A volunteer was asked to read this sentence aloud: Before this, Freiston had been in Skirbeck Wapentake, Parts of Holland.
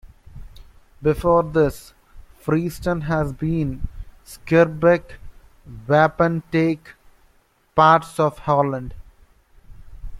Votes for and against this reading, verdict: 1, 2, rejected